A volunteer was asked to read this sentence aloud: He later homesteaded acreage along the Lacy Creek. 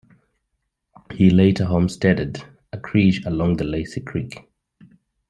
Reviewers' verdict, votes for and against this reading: rejected, 0, 2